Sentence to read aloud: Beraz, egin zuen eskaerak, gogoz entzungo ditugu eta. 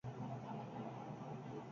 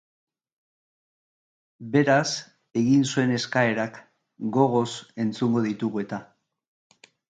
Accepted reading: second